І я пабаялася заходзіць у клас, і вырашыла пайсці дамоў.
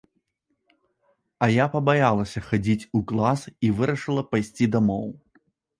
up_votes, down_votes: 0, 2